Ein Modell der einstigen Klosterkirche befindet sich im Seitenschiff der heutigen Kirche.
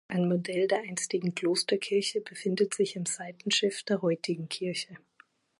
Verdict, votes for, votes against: accepted, 2, 0